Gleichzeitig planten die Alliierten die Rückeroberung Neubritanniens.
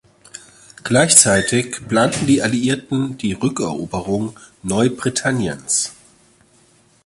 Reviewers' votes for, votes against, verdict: 2, 0, accepted